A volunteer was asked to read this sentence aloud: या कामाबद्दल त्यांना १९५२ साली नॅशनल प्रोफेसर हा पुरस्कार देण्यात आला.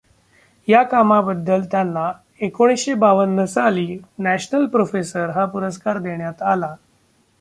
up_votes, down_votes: 0, 2